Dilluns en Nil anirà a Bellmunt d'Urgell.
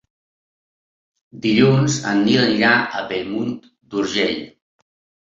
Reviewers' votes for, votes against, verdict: 4, 0, accepted